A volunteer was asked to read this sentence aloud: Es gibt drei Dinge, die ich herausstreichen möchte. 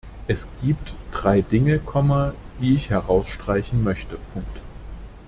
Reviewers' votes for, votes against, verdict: 0, 2, rejected